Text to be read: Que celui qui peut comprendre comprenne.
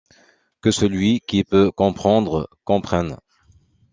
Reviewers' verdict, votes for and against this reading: accepted, 2, 1